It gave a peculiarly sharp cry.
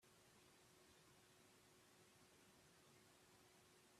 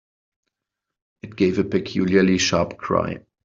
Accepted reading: second